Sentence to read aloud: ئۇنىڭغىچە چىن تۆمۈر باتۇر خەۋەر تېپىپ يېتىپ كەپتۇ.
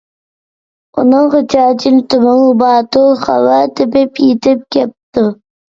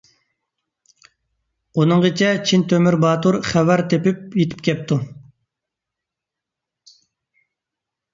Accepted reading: second